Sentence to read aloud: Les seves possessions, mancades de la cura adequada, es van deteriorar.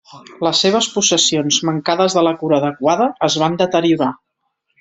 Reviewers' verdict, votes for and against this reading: accepted, 3, 0